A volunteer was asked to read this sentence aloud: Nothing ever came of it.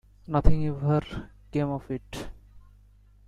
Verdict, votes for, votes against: rejected, 0, 2